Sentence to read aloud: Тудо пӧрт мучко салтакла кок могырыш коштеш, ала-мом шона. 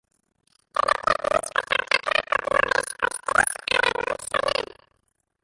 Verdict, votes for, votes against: rejected, 0, 2